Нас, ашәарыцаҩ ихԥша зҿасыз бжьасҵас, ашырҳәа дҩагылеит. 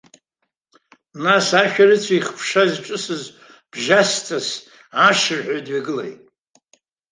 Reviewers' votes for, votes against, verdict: 2, 1, accepted